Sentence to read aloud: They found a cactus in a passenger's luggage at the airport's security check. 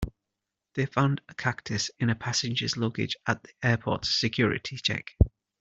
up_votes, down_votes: 1, 2